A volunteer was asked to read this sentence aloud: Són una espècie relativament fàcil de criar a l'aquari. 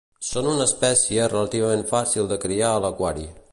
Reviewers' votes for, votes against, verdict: 2, 0, accepted